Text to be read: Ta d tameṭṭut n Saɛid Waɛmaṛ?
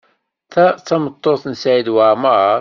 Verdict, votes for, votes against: accepted, 2, 0